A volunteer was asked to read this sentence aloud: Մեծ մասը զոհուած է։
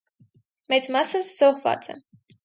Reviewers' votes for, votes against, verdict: 2, 2, rejected